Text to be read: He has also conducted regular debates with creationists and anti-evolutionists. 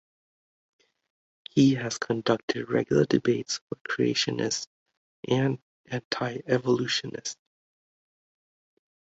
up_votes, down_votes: 1, 2